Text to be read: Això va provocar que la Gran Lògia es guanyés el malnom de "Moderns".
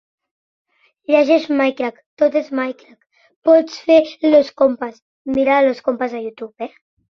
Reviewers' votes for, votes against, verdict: 0, 3, rejected